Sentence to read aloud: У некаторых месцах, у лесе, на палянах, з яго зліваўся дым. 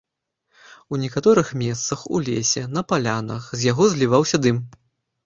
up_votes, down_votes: 2, 0